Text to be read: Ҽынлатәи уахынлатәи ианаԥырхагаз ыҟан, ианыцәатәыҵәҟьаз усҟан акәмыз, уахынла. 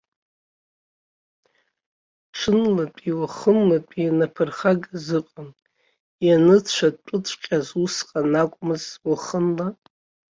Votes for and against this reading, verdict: 0, 2, rejected